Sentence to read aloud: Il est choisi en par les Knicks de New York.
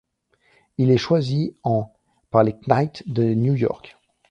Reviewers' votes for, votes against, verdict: 1, 2, rejected